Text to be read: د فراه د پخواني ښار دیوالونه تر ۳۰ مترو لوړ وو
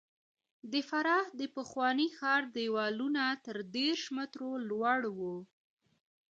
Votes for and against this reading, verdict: 0, 2, rejected